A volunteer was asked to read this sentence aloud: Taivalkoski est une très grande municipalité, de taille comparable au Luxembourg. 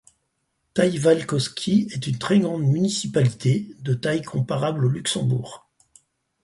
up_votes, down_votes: 4, 0